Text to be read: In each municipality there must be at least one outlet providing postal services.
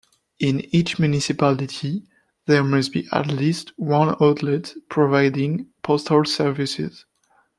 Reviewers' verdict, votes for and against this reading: accepted, 2, 1